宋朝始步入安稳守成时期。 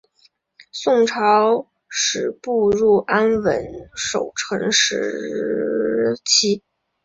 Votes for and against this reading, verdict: 0, 2, rejected